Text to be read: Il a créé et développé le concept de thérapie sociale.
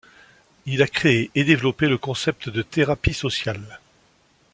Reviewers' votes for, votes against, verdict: 2, 0, accepted